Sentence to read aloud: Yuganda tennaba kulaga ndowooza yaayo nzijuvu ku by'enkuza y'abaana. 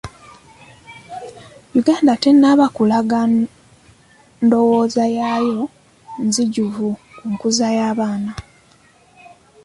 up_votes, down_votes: 1, 2